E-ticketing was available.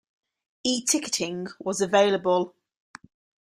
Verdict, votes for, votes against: accepted, 2, 0